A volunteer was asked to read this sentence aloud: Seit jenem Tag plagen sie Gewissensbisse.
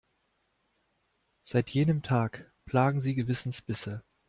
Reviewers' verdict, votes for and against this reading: accepted, 2, 0